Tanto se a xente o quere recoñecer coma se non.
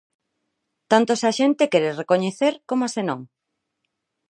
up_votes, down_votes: 0, 4